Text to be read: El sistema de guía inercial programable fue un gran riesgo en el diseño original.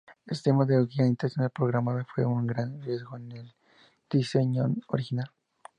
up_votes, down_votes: 0, 2